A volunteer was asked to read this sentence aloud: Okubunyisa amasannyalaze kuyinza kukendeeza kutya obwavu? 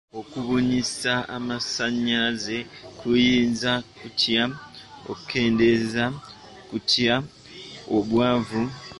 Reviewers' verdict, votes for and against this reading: rejected, 0, 2